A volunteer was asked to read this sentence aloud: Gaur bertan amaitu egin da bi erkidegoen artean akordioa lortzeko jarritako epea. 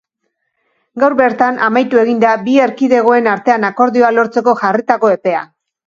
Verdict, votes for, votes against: accepted, 2, 0